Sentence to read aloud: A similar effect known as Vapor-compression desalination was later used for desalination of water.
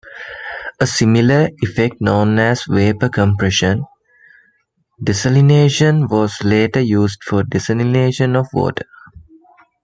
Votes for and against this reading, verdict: 2, 0, accepted